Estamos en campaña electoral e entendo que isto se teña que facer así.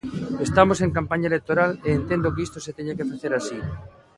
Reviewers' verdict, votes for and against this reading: accepted, 2, 0